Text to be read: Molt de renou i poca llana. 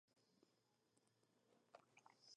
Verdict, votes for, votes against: rejected, 0, 2